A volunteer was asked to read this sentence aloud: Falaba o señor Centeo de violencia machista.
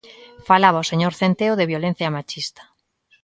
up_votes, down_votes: 3, 0